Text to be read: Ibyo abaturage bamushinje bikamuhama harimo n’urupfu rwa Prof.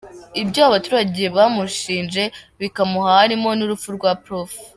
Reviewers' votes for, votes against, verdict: 3, 4, rejected